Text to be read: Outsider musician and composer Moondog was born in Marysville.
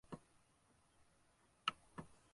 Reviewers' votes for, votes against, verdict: 0, 2, rejected